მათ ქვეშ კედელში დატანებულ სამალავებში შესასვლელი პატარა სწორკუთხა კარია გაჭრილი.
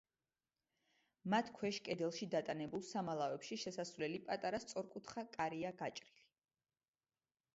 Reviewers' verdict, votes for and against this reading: accepted, 2, 0